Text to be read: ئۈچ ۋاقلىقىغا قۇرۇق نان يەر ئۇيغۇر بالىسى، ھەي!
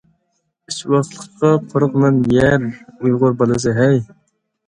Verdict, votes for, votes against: rejected, 0, 2